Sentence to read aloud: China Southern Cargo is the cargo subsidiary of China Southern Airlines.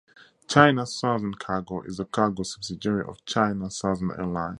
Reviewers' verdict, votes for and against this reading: accepted, 2, 0